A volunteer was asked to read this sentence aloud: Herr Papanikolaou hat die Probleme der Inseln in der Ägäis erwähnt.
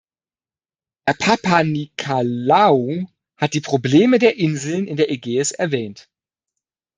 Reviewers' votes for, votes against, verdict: 1, 2, rejected